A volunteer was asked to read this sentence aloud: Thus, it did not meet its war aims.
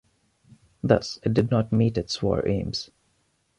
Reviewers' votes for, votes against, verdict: 2, 0, accepted